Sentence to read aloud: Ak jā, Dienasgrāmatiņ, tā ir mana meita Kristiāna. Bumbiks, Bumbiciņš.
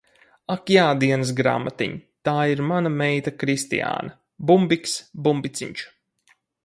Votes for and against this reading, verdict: 4, 0, accepted